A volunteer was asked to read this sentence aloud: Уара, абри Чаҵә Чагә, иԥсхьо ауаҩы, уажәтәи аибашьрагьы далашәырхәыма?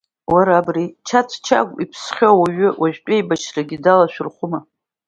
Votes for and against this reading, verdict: 2, 0, accepted